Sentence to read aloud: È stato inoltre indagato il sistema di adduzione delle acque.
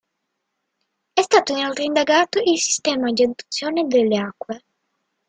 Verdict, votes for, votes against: accepted, 2, 0